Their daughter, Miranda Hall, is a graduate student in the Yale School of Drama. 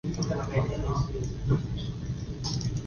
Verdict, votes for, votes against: rejected, 0, 2